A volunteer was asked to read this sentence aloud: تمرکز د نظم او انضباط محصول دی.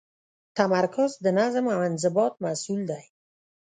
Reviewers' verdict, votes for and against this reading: rejected, 0, 2